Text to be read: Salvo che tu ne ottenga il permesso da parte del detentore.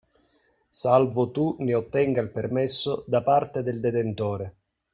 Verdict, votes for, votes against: rejected, 0, 2